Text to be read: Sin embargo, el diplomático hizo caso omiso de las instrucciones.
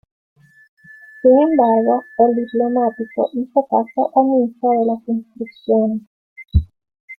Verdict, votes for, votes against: accepted, 2, 0